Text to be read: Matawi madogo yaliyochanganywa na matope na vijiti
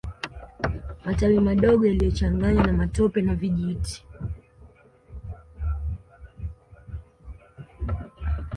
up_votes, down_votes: 2, 1